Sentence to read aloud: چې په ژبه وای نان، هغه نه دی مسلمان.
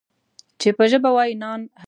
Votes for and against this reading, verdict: 1, 2, rejected